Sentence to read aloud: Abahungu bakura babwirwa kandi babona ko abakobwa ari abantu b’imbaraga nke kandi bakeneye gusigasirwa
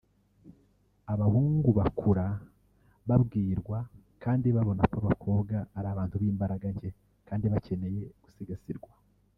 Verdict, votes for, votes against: accepted, 2, 0